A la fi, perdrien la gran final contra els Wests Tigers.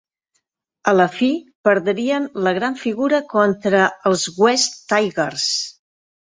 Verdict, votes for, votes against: rejected, 1, 3